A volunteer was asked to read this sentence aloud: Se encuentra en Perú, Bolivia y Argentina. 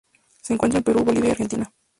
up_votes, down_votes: 2, 0